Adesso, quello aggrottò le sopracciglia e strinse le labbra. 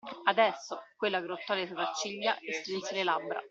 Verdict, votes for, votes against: accepted, 2, 1